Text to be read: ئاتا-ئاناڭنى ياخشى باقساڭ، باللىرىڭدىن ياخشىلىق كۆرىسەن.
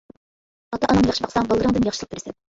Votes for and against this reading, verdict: 1, 2, rejected